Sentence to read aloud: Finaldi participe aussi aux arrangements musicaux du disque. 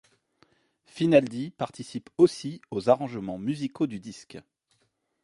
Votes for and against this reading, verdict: 2, 0, accepted